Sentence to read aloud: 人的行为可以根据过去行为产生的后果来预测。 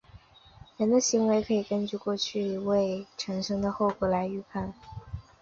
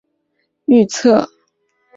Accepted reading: first